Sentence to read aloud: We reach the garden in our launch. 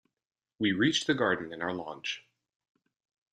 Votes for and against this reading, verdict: 2, 0, accepted